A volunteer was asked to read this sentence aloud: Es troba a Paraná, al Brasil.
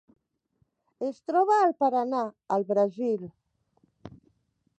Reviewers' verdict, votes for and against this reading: rejected, 0, 2